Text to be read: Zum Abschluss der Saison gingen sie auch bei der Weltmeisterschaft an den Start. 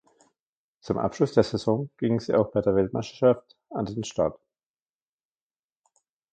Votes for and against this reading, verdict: 2, 1, accepted